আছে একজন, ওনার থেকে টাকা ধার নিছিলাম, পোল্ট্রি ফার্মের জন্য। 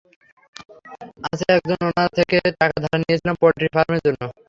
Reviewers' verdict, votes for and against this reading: rejected, 0, 3